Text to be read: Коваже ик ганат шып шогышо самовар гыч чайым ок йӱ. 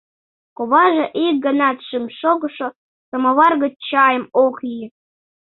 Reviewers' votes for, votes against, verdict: 0, 2, rejected